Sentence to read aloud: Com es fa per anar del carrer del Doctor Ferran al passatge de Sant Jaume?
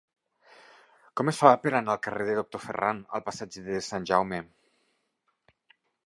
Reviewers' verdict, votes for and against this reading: rejected, 0, 2